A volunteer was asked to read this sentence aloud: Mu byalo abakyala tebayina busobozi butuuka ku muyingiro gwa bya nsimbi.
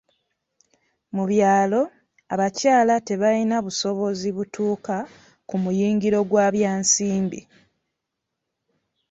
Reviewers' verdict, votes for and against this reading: accepted, 2, 0